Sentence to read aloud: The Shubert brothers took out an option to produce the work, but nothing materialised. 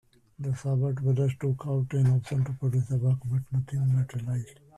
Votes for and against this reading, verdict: 1, 2, rejected